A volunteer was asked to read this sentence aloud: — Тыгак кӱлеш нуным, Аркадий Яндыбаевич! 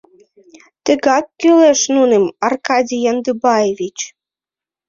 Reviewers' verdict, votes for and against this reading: accepted, 2, 0